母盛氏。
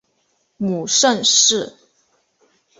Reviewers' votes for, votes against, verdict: 2, 0, accepted